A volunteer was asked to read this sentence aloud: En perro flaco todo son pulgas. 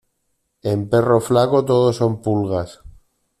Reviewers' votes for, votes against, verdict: 2, 0, accepted